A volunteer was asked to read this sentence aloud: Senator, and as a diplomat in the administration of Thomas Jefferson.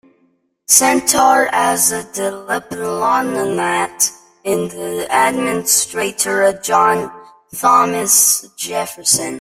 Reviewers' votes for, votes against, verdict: 0, 2, rejected